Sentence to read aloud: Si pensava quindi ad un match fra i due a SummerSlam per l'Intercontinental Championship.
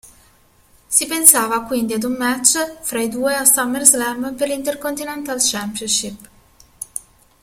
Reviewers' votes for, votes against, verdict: 2, 0, accepted